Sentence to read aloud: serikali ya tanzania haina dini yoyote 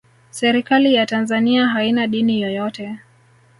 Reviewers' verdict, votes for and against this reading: accepted, 2, 0